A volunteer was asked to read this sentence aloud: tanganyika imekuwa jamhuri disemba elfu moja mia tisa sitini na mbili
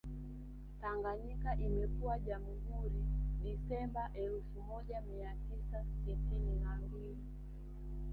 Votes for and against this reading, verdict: 0, 2, rejected